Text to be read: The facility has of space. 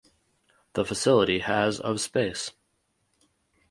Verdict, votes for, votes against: accepted, 4, 0